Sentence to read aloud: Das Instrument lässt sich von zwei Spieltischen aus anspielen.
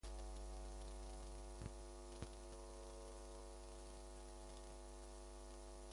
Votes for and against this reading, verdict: 0, 2, rejected